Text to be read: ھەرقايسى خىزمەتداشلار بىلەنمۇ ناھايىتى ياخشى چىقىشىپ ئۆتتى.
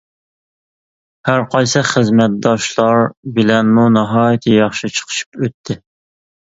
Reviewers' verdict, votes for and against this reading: accepted, 2, 0